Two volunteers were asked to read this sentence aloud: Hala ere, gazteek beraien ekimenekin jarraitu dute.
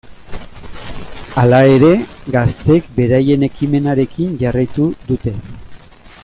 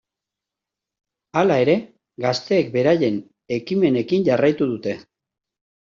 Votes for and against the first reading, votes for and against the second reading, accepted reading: 0, 2, 2, 0, second